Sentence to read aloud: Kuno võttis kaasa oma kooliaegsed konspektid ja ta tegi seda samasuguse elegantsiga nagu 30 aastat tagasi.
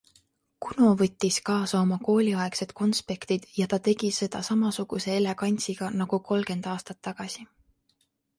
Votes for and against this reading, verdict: 0, 2, rejected